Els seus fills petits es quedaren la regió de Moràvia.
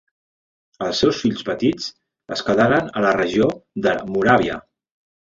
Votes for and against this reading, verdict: 1, 2, rejected